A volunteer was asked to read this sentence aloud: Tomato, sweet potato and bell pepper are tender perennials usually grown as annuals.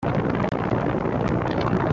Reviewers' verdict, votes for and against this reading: rejected, 0, 2